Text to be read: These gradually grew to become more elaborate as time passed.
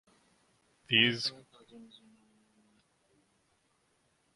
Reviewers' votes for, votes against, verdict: 0, 2, rejected